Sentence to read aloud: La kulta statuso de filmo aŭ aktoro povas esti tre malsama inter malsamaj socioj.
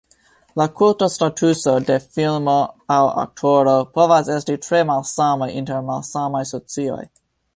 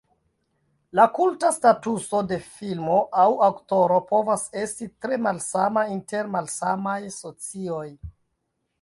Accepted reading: first